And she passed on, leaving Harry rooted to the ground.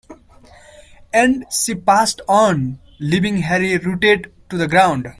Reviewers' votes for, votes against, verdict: 2, 0, accepted